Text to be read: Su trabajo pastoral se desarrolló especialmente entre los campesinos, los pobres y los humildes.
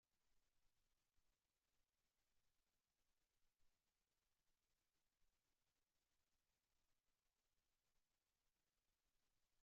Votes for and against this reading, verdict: 0, 2, rejected